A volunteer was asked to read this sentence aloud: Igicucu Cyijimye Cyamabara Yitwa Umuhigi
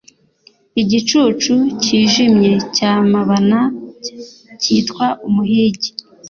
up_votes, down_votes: 1, 2